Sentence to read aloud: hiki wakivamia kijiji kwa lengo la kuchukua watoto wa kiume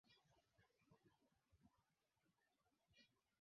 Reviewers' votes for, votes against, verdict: 0, 2, rejected